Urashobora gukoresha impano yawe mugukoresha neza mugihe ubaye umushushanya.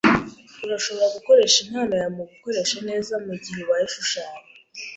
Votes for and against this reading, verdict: 1, 2, rejected